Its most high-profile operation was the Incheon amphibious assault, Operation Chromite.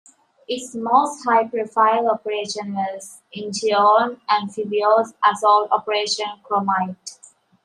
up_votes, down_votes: 1, 2